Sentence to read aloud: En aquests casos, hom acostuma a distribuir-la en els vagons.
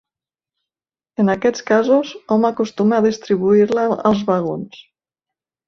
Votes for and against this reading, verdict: 0, 2, rejected